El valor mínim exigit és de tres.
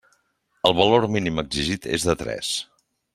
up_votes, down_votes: 3, 0